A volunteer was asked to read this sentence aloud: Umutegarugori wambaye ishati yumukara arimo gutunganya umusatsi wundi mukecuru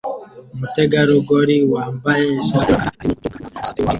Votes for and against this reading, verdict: 0, 2, rejected